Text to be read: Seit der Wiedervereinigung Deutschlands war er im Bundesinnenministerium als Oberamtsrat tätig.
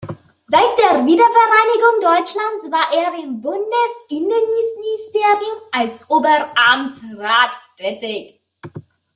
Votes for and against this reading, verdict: 0, 2, rejected